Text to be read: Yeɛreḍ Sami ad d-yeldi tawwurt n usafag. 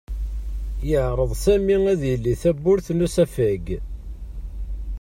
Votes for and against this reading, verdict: 0, 2, rejected